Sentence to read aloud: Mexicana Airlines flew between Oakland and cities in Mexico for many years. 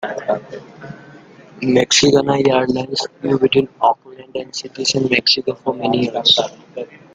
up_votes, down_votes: 0, 2